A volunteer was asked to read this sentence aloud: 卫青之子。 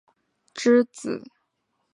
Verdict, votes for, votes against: rejected, 1, 3